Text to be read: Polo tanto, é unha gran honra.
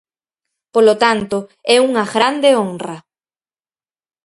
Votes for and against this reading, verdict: 2, 4, rejected